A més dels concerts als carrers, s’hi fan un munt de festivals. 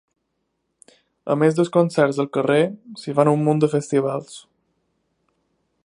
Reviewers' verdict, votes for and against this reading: rejected, 1, 3